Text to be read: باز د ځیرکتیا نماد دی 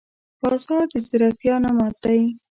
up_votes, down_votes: 1, 2